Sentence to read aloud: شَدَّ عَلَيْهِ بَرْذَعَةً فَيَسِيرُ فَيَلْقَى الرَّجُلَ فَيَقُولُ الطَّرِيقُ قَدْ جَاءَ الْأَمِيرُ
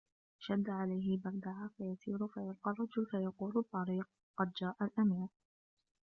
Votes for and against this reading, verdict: 1, 2, rejected